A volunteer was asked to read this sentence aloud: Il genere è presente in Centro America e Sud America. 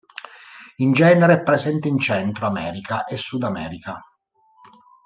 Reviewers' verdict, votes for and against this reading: rejected, 0, 2